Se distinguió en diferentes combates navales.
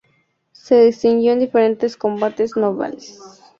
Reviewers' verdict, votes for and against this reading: rejected, 0, 2